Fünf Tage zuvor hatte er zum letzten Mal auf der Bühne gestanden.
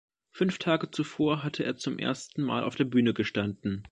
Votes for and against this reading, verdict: 0, 2, rejected